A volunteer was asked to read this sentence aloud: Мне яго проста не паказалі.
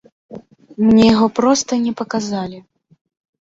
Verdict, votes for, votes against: accepted, 2, 0